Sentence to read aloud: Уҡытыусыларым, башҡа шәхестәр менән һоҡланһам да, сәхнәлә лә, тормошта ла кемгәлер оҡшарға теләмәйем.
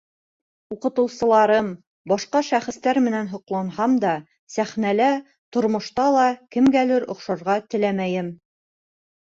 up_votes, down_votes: 1, 2